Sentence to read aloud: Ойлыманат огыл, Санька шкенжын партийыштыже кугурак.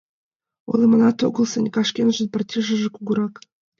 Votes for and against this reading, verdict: 0, 2, rejected